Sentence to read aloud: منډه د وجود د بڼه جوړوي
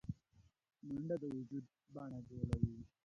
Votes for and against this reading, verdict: 0, 2, rejected